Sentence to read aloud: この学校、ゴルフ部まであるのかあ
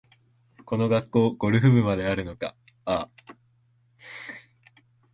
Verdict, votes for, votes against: accepted, 3, 1